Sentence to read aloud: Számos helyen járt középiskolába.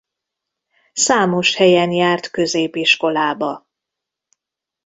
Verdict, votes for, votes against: accepted, 2, 0